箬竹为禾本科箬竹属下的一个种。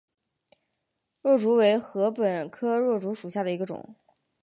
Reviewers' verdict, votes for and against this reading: accepted, 7, 0